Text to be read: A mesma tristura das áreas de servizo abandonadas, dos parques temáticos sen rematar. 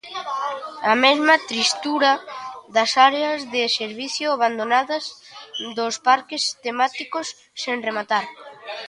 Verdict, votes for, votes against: rejected, 0, 2